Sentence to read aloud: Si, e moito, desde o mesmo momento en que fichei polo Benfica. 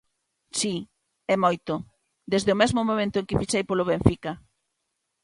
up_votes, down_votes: 2, 1